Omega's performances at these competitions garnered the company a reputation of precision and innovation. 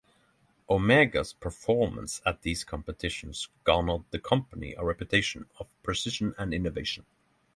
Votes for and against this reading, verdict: 0, 3, rejected